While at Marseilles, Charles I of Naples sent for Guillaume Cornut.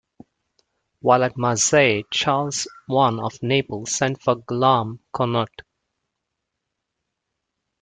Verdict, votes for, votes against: rejected, 0, 2